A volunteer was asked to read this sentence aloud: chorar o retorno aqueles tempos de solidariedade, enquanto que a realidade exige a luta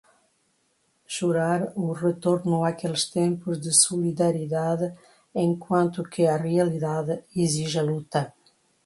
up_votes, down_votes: 1, 2